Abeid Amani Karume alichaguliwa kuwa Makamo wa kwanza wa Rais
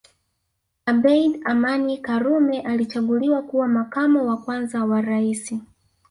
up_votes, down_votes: 1, 2